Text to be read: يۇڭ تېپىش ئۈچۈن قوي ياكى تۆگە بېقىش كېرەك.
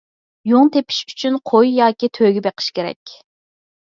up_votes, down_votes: 4, 0